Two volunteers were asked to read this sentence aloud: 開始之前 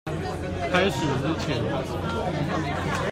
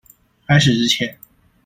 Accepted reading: first